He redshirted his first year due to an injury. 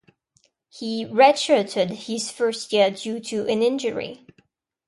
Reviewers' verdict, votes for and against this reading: accepted, 2, 0